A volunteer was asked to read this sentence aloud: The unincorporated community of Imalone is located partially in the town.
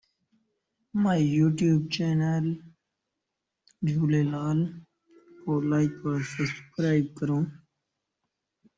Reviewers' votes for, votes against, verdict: 0, 2, rejected